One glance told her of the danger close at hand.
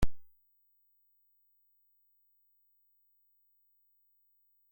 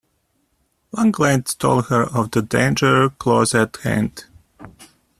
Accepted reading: second